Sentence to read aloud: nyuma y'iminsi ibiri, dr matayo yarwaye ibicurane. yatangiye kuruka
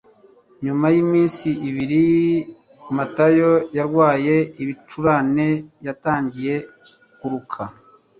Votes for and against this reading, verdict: 2, 0, accepted